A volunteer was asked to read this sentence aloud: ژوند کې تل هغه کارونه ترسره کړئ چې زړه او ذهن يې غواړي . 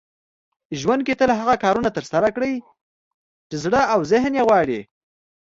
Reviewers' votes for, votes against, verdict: 2, 0, accepted